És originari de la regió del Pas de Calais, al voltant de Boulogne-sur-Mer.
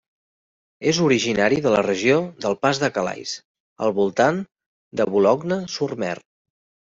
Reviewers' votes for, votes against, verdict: 2, 1, accepted